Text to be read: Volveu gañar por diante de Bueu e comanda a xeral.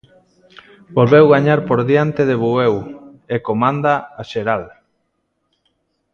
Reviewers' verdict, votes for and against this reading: accepted, 2, 0